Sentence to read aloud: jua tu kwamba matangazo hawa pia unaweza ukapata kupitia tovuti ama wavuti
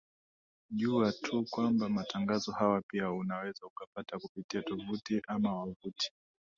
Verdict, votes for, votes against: rejected, 0, 2